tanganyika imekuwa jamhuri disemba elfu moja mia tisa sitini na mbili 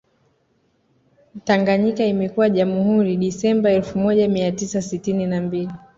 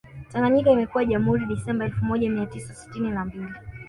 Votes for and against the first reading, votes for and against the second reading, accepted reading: 2, 0, 1, 2, first